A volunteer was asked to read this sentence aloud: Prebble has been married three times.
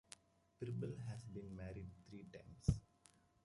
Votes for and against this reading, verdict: 1, 2, rejected